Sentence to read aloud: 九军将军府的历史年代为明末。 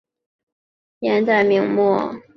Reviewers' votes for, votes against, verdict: 0, 3, rejected